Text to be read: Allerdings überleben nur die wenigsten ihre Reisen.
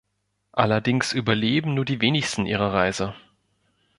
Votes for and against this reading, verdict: 2, 3, rejected